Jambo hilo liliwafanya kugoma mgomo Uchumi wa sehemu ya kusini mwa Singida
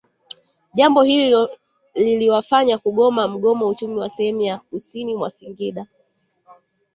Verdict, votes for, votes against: rejected, 0, 2